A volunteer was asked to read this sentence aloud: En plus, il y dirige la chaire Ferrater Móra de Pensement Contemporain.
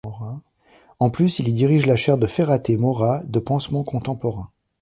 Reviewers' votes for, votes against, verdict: 1, 2, rejected